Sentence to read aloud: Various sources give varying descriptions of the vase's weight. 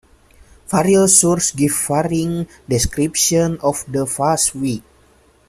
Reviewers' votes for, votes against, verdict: 0, 2, rejected